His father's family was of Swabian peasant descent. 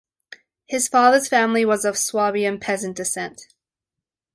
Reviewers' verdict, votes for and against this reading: accepted, 2, 0